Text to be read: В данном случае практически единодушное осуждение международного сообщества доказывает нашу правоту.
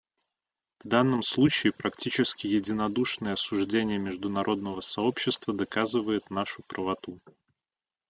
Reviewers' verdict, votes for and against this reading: accepted, 2, 0